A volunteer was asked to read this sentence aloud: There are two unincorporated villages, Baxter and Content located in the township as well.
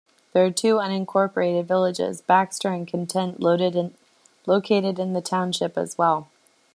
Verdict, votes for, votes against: rejected, 1, 2